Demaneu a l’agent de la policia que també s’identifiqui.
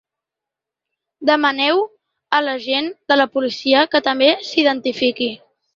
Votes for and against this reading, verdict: 3, 0, accepted